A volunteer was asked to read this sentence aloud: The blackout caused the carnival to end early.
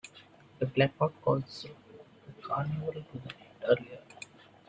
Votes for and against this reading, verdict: 0, 2, rejected